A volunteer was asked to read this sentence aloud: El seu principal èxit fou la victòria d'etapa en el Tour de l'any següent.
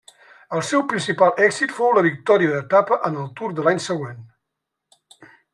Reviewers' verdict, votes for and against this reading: rejected, 1, 2